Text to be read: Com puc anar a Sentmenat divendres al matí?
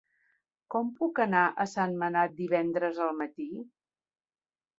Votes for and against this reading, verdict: 0, 2, rejected